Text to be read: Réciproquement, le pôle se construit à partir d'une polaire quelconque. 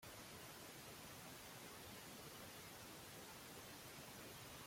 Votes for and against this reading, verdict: 0, 2, rejected